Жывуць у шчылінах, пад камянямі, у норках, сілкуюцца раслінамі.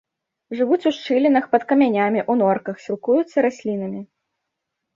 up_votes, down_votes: 2, 0